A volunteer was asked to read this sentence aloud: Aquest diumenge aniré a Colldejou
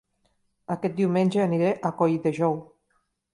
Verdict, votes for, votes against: accepted, 2, 0